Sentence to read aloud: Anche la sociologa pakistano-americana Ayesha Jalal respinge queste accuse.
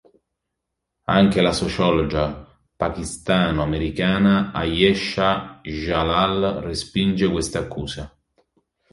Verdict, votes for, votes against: rejected, 1, 3